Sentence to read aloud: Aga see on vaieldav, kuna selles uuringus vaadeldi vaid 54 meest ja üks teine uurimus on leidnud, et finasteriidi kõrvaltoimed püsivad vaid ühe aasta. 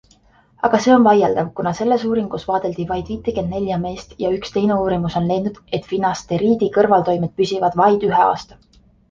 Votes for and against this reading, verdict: 0, 2, rejected